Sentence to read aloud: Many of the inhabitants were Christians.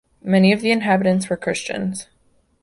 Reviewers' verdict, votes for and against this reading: accepted, 2, 0